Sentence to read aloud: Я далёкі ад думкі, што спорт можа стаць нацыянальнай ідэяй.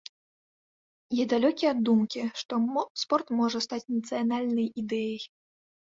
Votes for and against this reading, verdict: 0, 2, rejected